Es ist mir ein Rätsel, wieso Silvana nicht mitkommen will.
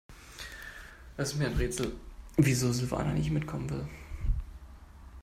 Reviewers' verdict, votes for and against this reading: rejected, 1, 2